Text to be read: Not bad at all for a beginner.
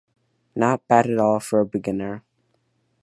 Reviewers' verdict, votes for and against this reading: accepted, 2, 0